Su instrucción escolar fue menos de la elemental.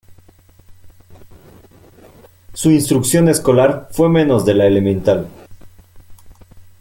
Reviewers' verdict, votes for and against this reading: accepted, 2, 1